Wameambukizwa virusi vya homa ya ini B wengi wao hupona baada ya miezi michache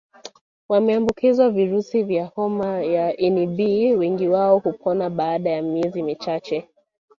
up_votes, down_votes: 1, 2